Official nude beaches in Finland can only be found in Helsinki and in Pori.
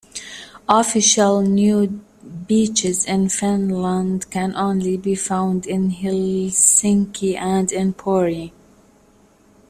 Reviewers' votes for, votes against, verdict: 2, 0, accepted